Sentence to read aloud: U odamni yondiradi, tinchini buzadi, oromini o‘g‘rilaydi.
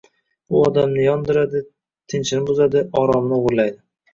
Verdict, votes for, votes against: rejected, 0, 2